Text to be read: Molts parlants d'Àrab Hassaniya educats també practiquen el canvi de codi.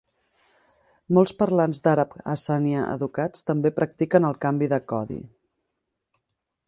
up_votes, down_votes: 1, 3